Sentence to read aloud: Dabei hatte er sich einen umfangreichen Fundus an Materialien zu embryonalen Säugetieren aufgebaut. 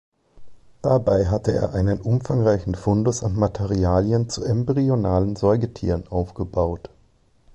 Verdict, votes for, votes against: rejected, 0, 2